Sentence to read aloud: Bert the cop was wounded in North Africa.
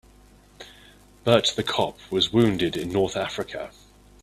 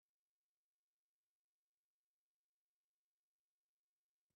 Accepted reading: first